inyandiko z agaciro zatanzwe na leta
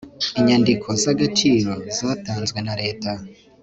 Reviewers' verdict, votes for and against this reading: accepted, 3, 0